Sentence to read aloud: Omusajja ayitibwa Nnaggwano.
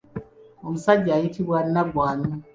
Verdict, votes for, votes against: accepted, 2, 1